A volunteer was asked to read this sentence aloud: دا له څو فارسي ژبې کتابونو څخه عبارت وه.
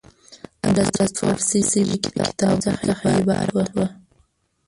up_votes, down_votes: 1, 2